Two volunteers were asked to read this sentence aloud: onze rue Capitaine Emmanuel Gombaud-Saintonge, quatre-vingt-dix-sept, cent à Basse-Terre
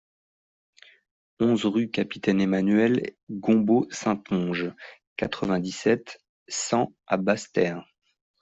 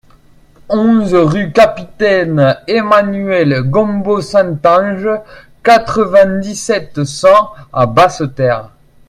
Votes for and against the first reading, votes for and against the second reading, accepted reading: 2, 0, 1, 2, first